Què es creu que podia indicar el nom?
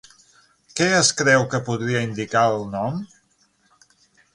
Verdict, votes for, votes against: rejected, 0, 6